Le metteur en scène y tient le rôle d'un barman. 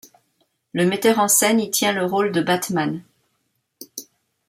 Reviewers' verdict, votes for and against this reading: rejected, 0, 2